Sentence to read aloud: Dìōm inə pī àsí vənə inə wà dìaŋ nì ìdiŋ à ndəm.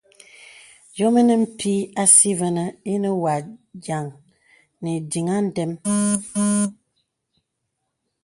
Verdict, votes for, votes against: accepted, 2, 0